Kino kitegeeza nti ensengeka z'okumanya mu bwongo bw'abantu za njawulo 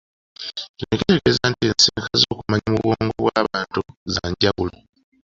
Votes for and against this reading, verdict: 1, 2, rejected